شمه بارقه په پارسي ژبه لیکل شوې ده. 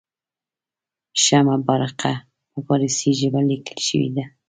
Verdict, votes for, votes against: rejected, 1, 2